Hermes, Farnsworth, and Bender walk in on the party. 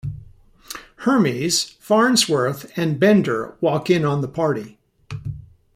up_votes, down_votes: 2, 0